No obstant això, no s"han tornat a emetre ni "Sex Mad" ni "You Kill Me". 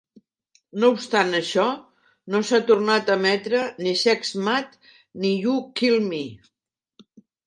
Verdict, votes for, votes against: accepted, 2, 0